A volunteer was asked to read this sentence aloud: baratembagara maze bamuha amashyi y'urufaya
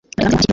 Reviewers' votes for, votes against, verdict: 0, 2, rejected